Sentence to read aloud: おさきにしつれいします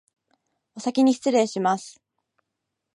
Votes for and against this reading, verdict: 2, 0, accepted